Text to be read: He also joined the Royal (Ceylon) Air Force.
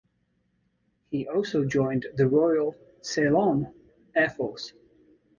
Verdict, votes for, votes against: accepted, 2, 0